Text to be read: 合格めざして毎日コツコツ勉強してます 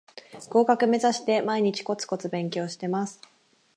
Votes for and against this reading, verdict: 4, 0, accepted